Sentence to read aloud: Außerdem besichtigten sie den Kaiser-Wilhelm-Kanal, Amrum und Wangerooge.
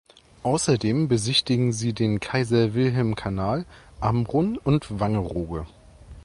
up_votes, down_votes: 0, 2